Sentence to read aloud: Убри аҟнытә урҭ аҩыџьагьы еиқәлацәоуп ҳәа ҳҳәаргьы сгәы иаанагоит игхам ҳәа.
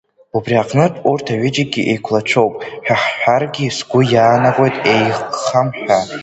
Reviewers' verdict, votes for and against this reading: rejected, 0, 2